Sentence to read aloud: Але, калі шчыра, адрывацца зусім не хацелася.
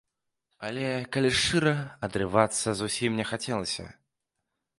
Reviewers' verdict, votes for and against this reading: accepted, 2, 0